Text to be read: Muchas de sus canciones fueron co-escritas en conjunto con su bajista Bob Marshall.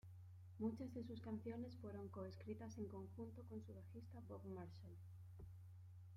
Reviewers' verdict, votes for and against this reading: accepted, 2, 0